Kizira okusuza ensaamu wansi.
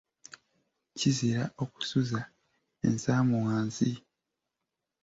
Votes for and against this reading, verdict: 2, 0, accepted